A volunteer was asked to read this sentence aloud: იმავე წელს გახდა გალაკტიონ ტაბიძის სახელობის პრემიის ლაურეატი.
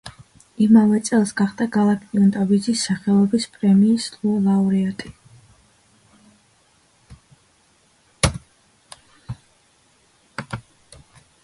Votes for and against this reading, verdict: 1, 2, rejected